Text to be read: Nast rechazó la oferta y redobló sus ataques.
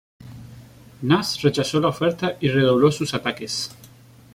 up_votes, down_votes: 2, 1